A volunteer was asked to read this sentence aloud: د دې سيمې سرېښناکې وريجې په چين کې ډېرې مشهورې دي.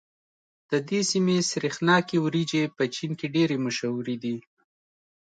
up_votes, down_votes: 2, 0